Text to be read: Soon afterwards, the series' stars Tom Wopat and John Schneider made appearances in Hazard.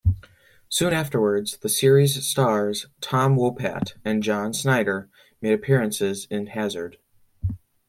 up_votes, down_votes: 2, 0